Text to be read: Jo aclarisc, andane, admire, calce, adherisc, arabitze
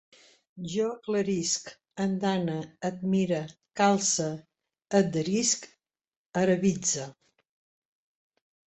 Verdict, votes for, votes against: rejected, 0, 2